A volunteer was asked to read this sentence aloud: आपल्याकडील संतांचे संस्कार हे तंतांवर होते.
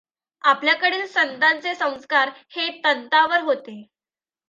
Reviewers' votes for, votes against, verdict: 2, 1, accepted